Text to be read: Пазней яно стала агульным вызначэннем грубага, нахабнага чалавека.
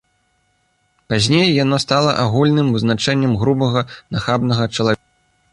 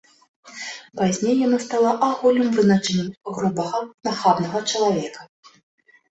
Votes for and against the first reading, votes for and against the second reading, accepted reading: 0, 2, 2, 1, second